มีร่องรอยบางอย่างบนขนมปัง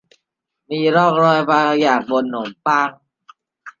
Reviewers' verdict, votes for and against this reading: rejected, 0, 2